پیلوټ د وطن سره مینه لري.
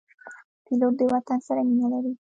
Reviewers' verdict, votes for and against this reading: rejected, 1, 2